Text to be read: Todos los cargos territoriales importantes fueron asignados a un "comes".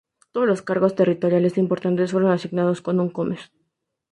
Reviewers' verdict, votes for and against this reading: rejected, 0, 2